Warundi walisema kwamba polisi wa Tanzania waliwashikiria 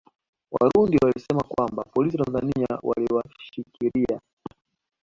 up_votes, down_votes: 2, 1